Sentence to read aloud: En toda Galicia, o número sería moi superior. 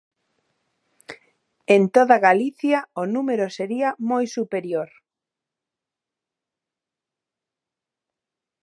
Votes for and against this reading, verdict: 2, 0, accepted